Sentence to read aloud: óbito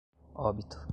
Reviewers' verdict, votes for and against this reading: accepted, 2, 0